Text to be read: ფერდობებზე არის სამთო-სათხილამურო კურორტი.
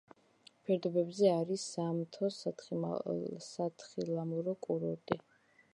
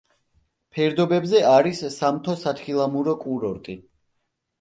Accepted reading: second